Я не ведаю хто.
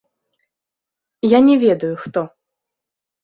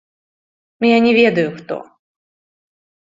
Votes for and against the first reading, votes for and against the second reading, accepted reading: 0, 2, 2, 0, second